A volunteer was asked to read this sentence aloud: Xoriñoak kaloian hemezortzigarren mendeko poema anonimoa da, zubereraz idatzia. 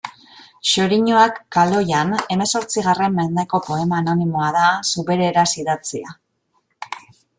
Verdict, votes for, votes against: accepted, 2, 0